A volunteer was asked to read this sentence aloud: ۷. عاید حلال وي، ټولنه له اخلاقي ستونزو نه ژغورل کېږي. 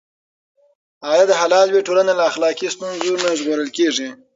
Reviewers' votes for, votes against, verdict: 0, 2, rejected